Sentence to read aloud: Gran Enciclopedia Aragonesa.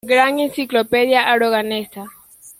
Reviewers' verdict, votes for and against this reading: rejected, 1, 2